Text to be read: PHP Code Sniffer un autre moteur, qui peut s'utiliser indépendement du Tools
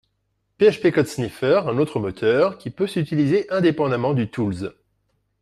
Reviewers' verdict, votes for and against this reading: accepted, 2, 0